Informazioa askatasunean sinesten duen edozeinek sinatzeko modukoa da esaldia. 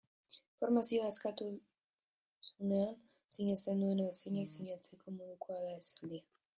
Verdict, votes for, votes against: rejected, 0, 3